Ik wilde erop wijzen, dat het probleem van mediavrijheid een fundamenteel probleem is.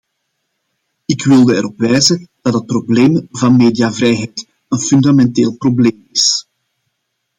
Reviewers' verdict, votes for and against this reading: accepted, 2, 0